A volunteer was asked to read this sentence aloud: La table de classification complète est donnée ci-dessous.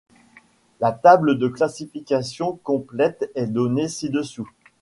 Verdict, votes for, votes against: accepted, 2, 0